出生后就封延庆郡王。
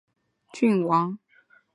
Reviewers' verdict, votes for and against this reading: rejected, 3, 4